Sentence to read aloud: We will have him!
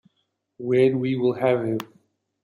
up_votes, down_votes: 0, 2